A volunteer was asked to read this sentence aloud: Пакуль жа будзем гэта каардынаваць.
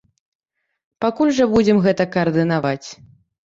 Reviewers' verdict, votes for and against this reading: accepted, 3, 0